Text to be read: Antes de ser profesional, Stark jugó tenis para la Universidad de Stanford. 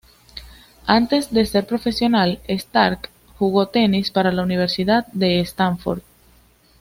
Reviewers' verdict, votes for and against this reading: accepted, 2, 0